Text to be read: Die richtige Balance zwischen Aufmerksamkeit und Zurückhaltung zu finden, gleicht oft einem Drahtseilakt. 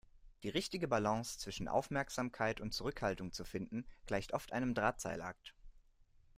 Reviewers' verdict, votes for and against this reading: accepted, 2, 0